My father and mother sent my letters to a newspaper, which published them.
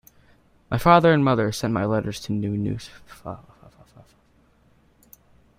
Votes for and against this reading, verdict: 0, 2, rejected